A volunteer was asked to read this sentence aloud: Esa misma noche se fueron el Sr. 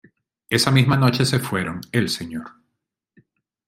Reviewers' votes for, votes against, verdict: 2, 0, accepted